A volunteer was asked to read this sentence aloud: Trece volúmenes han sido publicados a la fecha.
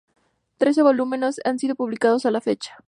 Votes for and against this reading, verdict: 2, 0, accepted